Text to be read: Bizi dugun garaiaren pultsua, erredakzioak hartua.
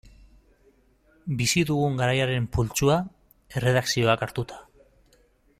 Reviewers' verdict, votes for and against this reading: rejected, 1, 2